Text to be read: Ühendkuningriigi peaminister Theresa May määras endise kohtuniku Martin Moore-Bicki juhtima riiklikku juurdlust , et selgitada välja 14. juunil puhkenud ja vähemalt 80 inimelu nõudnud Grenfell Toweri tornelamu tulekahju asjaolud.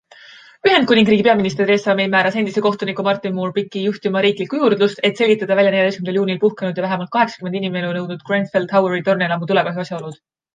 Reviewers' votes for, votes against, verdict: 0, 2, rejected